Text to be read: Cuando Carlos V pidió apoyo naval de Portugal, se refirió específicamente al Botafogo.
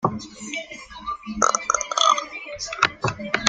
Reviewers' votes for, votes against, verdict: 0, 2, rejected